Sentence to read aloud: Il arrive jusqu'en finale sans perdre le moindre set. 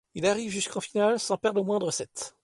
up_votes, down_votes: 2, 0